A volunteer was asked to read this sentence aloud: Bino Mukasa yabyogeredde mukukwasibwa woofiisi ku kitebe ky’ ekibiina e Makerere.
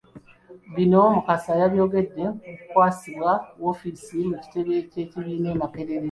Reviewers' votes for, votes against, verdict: 0, 2, rejected